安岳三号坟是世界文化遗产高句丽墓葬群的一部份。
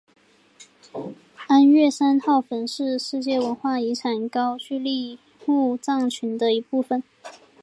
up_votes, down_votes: 1, 2